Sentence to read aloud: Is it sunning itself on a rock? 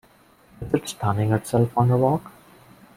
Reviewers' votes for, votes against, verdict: 1, 2, rejected